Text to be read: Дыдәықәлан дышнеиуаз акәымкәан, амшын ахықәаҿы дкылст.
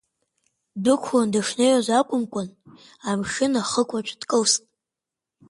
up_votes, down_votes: 2, 1